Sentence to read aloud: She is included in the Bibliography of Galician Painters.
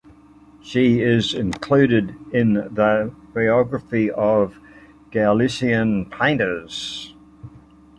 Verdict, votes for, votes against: rejected, 1, 2